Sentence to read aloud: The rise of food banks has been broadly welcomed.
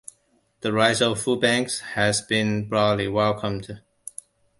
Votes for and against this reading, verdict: 2, 0, accepted